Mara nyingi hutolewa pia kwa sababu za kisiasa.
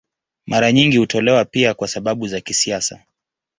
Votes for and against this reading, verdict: 2, 0, accepted